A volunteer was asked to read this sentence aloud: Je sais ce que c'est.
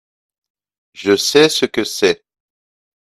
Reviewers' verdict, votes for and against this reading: accepted, 2, 0